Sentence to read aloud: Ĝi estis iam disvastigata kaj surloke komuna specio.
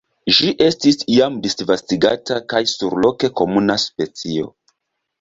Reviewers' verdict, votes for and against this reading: accepted, 2, 0